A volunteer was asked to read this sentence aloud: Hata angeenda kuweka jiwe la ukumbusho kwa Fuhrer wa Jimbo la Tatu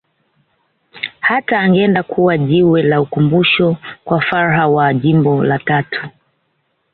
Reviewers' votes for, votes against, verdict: 2, 1, accepted